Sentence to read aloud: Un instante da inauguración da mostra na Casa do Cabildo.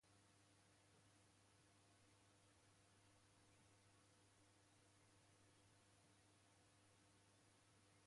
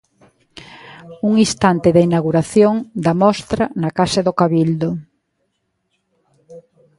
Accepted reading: second